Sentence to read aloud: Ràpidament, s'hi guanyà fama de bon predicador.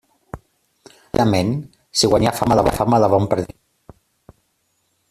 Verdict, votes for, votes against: rejected, 0, 2